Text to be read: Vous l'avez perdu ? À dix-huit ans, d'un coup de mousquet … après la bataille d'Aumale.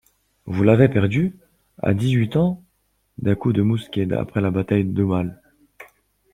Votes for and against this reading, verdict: 0, 2, rejected